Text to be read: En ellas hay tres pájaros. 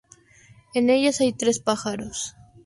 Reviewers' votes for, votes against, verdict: 0, 2, rejected